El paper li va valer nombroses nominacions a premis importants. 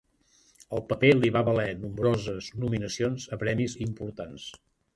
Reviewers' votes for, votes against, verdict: 3, 0, accepted